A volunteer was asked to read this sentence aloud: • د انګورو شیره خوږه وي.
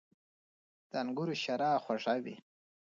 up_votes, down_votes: 2, 0